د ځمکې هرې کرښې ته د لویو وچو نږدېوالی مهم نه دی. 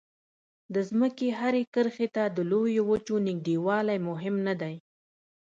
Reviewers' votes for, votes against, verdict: 2, 0, accepted